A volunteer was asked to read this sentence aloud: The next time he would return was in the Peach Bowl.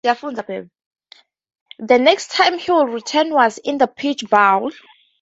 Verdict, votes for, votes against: rejected, 0, 2